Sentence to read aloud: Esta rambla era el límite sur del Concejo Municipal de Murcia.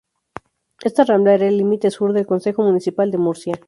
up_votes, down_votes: 0, 2